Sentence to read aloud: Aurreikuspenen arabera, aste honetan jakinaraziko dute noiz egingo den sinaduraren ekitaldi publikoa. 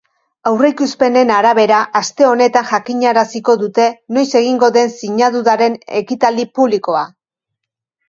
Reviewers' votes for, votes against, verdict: 2, 1, accepted